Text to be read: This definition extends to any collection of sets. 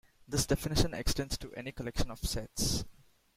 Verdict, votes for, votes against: accepted, 2, 0